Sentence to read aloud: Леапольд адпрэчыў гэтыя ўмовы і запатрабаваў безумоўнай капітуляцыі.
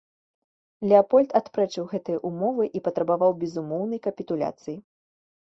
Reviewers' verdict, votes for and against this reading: rejected, 1, 2